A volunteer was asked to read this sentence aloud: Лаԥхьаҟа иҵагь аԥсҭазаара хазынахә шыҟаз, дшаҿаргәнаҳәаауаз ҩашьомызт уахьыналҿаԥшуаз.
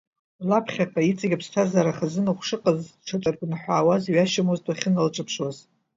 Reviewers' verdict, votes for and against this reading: rejected, 0, 2